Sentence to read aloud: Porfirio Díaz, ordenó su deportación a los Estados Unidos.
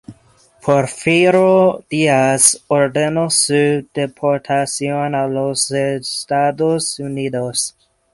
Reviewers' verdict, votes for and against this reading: accepted, 2, 0